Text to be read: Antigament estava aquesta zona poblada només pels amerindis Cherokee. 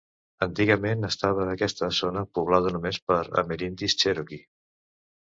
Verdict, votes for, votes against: rejected, 1, 2